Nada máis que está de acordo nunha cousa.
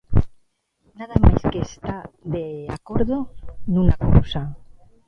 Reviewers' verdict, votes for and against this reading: rejected, 1, 2